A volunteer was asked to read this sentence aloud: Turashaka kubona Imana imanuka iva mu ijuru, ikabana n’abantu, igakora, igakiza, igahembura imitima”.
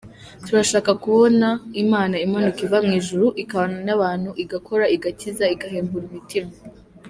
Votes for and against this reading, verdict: 2, 0, accepted